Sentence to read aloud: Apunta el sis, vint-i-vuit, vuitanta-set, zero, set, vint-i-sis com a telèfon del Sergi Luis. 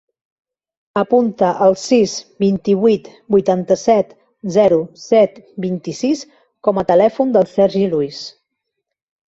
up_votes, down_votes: 3, 0